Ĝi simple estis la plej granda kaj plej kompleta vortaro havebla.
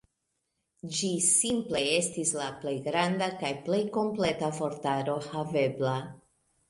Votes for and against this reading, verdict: 2, 0, accepted